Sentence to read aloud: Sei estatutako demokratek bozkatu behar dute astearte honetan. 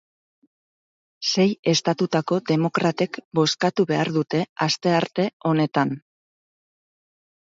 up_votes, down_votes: 4, 0